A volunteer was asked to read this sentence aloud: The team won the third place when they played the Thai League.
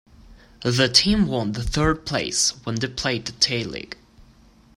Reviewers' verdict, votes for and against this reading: rejected, 1, 2